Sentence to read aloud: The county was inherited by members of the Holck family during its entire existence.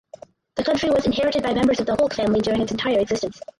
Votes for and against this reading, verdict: 0, 4, rejected